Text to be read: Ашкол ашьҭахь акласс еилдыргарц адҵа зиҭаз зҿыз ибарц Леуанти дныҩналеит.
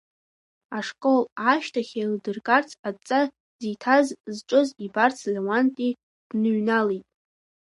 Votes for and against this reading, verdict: 0, 2, rejected